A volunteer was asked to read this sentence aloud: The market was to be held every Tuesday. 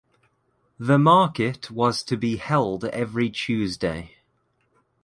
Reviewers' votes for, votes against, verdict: 2, 0, accepted